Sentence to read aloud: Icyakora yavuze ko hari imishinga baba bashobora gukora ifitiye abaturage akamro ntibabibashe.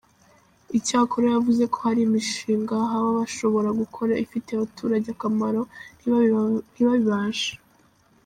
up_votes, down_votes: 0, 2